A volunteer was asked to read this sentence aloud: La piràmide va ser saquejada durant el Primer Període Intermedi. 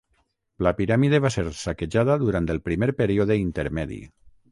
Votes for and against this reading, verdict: 6, 0, accepted